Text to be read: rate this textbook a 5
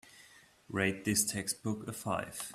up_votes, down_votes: 0, 2